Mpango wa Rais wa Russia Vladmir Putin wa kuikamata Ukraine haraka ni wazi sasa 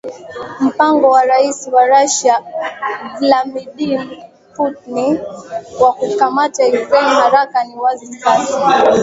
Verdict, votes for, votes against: rejected, 0, 3